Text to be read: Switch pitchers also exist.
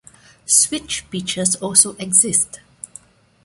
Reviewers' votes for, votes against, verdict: 2, 0, accepted